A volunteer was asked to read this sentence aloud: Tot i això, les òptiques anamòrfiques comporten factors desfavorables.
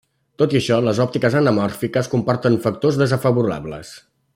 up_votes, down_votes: 0, 2